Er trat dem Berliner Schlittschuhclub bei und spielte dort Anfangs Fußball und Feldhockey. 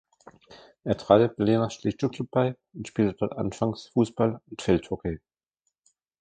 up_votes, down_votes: 0, 2